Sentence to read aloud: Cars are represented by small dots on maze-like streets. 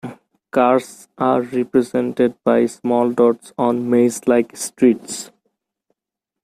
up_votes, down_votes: 2, 0